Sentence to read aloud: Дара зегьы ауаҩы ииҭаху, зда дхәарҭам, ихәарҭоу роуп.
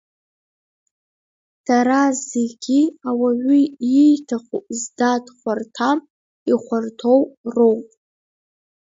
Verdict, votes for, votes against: rejected, 0, 2